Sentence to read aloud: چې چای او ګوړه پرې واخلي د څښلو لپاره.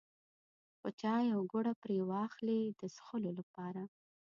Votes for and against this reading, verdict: 2, 0, accepted